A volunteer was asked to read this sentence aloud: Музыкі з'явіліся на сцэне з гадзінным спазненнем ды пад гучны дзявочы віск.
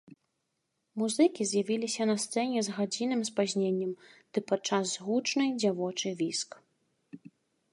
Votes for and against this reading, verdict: 2, 4, rejected